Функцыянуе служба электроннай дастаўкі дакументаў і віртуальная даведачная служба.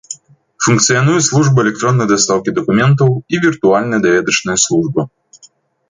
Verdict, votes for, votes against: accepted, 2, 0